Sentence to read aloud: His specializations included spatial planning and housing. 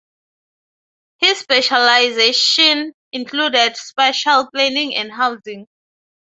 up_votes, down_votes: 0, 6